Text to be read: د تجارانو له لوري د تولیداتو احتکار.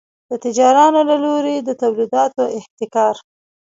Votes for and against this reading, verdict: 2, 1, accepted